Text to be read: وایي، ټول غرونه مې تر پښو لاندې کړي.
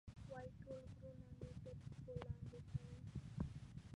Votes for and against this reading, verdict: 0, 2, rejected